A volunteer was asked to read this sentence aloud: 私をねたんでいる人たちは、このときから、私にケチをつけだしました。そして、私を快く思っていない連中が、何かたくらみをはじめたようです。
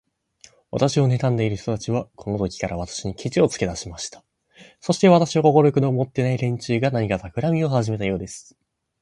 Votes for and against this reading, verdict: 3, 2, accepted